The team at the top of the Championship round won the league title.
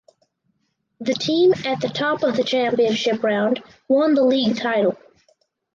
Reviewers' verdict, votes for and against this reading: accepted, 4, 0